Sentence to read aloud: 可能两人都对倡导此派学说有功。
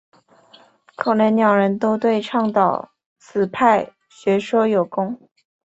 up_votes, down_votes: 2, 0